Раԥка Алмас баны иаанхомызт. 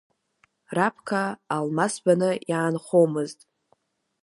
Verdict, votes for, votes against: accepted, 2, 0